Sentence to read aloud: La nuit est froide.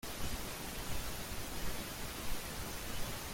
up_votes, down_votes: 0, 2